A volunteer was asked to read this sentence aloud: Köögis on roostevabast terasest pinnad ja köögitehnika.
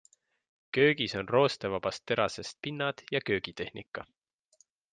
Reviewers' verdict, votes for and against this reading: accepted, 2, 0